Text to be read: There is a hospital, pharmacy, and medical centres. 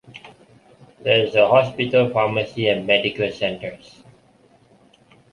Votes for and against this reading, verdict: 1, 2, rejected